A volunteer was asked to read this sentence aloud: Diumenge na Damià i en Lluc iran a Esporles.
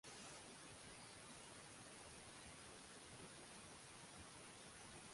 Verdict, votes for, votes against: rejected, 0, 2